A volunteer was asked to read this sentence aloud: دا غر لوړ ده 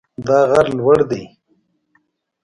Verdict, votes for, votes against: accepted, 2, 0